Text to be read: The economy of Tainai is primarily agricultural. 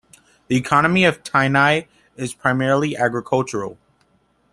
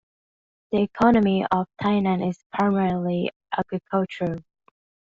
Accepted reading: first